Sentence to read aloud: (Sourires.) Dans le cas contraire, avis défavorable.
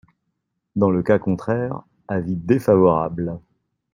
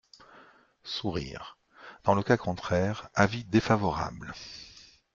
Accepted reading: second